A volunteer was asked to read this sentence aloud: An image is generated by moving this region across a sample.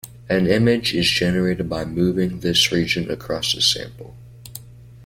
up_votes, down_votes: 2, 0